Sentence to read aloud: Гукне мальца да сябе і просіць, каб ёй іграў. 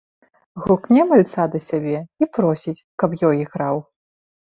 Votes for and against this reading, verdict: 2, 1, accepted